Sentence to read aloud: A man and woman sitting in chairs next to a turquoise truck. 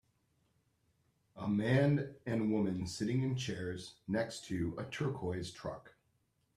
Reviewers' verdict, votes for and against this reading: accepted, 3, 0